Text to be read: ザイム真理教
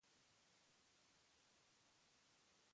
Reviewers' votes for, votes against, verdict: 0, 2, rejected